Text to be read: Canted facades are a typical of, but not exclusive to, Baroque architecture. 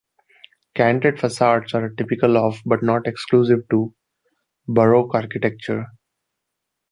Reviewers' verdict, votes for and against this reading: accepted, 2, 0